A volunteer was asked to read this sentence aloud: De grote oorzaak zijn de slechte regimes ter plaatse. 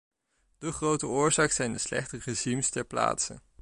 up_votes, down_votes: 2, 0